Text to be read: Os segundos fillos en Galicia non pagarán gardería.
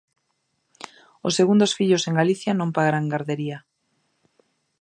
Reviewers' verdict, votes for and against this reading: accepted, 2, 0